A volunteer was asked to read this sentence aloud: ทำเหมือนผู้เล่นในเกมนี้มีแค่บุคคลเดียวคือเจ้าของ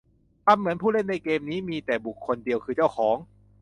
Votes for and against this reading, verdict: 0, 2, rejected